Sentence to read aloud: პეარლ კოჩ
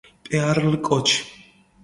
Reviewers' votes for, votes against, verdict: 2, 1, accepted